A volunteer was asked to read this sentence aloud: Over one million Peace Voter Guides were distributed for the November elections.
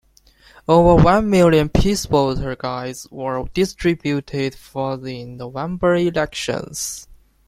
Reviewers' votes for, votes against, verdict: 1, 2, rejected